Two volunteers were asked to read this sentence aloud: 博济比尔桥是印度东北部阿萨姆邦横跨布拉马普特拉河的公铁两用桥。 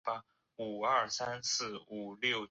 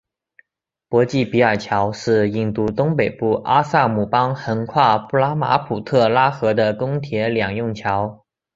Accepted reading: second